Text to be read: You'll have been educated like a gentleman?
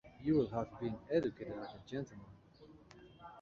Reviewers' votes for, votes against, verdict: 2, 1, accepted